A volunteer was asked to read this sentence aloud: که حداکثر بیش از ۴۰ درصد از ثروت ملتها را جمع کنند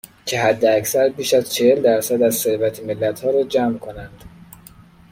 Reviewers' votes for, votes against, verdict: 0, 2, rejected